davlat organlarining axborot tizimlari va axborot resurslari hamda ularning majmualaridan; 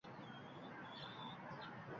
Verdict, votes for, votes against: rejected, 0, 2